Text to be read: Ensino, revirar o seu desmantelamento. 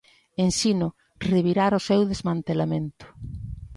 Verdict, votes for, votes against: accepted, 2, 0